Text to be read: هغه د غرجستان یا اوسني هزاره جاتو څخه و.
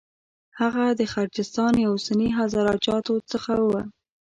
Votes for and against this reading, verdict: 2, 0, accepted